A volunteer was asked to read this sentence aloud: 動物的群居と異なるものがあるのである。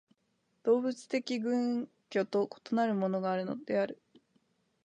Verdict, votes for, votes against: accepted, 2, 1